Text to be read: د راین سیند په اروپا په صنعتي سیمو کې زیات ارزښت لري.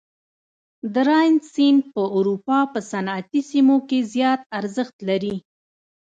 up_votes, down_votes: 2, 0